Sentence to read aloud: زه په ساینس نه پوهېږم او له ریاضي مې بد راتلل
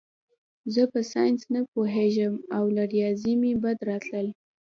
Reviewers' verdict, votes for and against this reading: accepted, 2, 0